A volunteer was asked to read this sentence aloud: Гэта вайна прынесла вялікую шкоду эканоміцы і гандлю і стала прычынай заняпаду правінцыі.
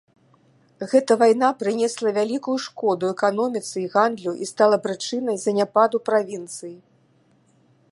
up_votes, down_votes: 2, 0